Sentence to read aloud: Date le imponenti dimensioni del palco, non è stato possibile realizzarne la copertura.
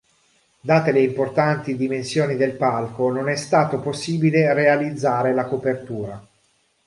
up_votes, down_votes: 0, 2